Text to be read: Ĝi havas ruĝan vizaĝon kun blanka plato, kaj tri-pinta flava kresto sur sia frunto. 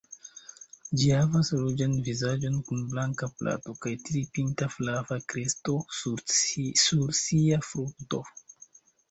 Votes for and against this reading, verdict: 2, 0, accepted